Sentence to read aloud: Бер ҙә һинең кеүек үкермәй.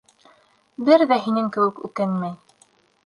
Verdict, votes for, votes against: rejected, 0, 2